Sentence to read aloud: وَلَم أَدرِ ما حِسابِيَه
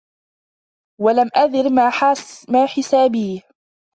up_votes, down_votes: 0, 2